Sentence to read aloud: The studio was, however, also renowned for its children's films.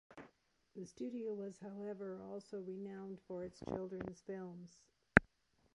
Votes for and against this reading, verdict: 2, 0, accepted